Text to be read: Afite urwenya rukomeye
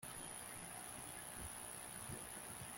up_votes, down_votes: 0, 3